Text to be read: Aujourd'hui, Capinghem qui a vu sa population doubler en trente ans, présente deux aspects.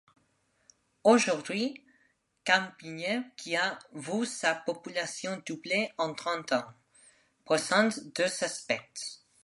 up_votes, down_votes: 2, 1